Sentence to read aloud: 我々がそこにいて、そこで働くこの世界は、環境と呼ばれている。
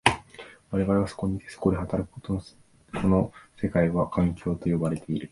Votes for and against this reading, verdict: 2, 3, rejected